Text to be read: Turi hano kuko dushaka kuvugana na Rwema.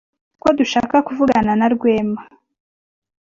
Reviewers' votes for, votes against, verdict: 1, 2, rejected